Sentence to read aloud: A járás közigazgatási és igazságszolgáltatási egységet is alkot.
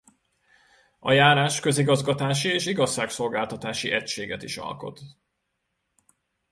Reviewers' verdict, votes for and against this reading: rejected, 1, 2